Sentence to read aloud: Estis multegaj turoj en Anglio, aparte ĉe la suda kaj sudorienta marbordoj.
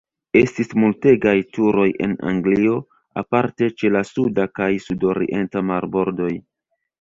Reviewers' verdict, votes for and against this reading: rejected, 0, 2